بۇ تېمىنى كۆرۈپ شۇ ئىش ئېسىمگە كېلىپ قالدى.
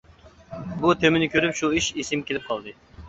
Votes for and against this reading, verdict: 2, 0, accepted